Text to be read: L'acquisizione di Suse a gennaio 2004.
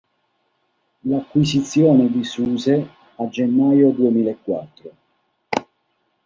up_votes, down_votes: 0, 2